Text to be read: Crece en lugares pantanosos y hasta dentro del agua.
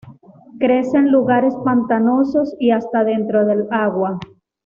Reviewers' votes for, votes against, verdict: 2, 0, accepted